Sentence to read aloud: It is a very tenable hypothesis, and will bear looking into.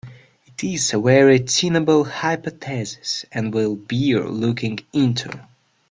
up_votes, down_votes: 0, 2